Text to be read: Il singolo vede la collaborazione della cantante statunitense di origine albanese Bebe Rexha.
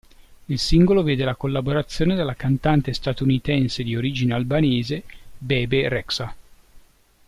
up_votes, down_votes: 2, 0